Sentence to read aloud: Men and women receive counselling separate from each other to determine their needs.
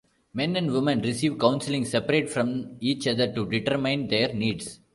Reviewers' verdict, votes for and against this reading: rejected, 1, 2